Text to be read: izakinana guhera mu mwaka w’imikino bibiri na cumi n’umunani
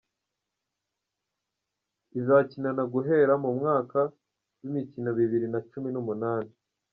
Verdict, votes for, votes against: accepted, 2, 0